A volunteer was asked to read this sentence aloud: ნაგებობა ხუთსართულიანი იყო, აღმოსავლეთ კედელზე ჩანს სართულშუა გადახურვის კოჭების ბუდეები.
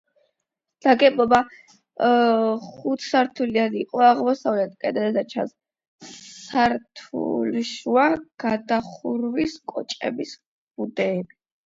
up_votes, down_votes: 0, 8